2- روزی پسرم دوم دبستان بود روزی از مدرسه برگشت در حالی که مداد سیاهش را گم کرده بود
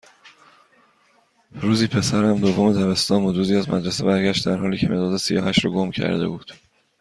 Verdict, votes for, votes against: rejected, 0, 2